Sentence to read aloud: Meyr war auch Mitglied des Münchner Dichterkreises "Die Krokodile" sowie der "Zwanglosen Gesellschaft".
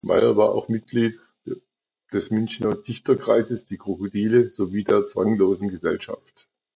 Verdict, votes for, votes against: accepted, 2, 0